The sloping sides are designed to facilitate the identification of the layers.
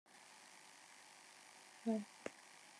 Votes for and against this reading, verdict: 0, 2, rejected